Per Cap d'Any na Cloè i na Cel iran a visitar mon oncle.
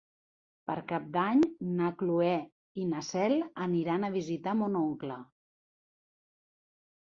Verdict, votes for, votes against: rejected, 1, 3